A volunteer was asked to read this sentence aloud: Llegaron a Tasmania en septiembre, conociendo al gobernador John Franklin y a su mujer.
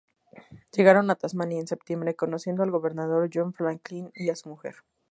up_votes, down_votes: 2, 0